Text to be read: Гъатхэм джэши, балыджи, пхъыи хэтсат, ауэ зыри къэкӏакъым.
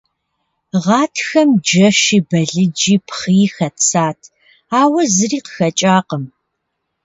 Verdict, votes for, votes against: rejected, 0, 2